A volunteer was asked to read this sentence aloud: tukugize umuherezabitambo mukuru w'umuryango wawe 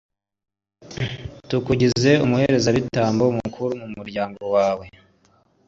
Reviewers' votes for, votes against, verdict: 2, 0, accepted